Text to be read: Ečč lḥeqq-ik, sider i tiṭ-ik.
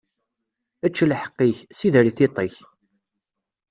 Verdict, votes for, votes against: accepted, 2, 0